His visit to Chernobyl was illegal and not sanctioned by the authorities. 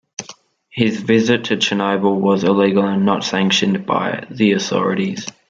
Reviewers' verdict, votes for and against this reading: accepted, 2, 0